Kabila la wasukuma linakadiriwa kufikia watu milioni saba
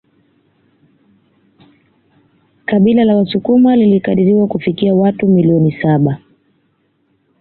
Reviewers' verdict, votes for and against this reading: accepted, 2, 0